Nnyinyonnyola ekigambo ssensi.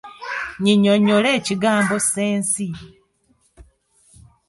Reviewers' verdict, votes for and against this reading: rejected, 1, 2